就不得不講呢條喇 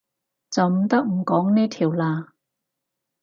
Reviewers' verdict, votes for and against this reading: rejected, 0, 4